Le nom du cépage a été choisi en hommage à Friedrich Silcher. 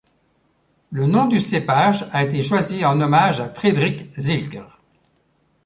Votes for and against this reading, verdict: 1, 2, rejected